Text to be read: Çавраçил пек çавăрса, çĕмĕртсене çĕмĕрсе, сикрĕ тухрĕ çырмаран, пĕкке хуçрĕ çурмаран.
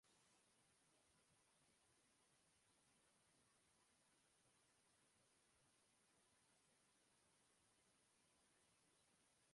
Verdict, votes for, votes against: rejected, 0, 2